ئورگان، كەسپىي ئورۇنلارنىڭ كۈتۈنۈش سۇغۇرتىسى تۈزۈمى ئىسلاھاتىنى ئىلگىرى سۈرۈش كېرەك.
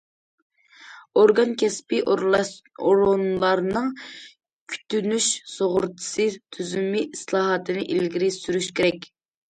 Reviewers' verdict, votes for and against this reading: rejected, 1, 2